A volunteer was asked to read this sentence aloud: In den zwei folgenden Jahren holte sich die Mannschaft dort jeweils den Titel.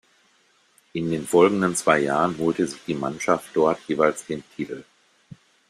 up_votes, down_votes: 1, 2